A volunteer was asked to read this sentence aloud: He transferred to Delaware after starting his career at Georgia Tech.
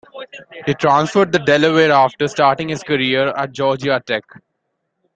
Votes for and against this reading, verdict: 2, 1, accepted